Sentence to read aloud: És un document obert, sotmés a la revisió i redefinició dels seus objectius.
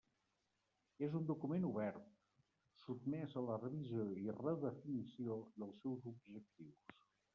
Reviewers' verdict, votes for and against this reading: rejected, 1, 2